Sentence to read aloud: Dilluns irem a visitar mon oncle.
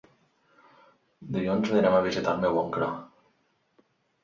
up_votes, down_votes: 0, 2